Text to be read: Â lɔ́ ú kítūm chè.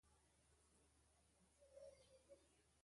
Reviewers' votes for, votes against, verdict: 2, 0, accepted